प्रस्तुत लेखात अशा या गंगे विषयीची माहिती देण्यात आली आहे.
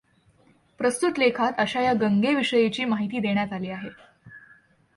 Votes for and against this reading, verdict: 2, 0, accepted